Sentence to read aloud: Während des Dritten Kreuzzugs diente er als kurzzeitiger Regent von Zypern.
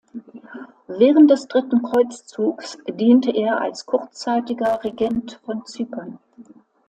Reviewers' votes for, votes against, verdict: 2, 0, accepted